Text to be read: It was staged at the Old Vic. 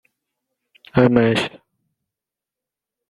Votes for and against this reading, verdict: 0, 2, rejected